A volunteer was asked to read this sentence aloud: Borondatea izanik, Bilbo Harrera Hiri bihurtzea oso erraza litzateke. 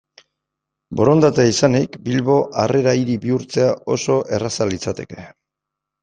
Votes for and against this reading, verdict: 2, 0, accepted